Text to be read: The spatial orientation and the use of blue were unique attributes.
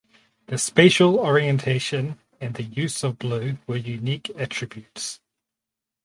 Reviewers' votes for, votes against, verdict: 4, 0, accepted